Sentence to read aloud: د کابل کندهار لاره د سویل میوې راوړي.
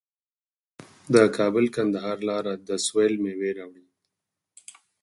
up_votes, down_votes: 4, 2